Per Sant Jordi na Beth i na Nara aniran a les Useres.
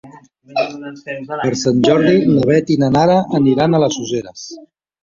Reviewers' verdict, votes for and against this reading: rejected, 1, 2